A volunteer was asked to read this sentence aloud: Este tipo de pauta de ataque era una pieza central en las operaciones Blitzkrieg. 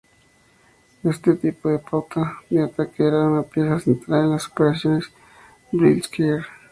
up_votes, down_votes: 2, 2